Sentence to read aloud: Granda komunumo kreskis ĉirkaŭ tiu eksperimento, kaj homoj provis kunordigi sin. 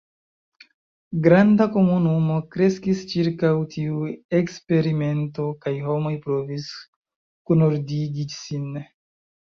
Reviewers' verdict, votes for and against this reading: accepted, 2, 1